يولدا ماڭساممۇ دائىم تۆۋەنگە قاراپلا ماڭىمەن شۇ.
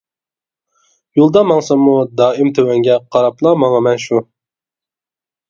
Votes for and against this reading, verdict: 2, 0, accepted